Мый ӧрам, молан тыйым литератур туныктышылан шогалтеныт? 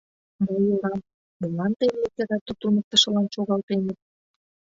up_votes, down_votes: 0, 2